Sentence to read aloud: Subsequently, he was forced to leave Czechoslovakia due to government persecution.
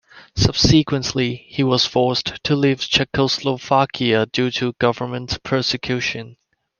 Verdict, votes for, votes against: accepted, 2, 0